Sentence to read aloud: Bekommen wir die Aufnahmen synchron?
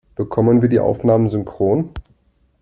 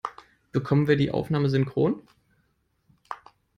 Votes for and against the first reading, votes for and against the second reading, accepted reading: 2, 0, 1, 2, first